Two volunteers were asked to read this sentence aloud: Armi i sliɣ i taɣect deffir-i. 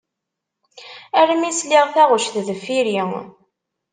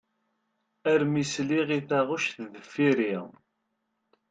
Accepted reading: second